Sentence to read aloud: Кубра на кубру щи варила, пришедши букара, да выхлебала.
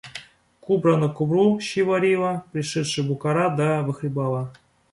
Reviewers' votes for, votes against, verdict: 2, 0, accepted